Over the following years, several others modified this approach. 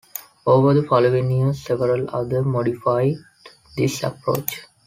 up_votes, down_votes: 0, 2